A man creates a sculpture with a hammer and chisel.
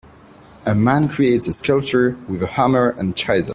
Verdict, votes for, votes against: rejected, 0, 2